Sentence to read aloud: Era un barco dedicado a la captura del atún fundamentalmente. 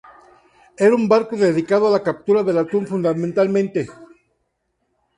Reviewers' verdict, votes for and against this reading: accepted, 2, 0